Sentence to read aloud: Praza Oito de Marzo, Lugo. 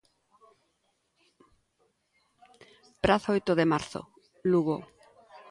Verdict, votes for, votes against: accepted, 2, 0